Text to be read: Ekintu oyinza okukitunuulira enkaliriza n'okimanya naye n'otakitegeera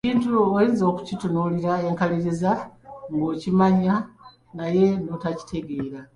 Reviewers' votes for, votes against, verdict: 1, 2, rejected